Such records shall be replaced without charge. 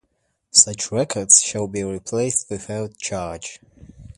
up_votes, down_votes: 2, 0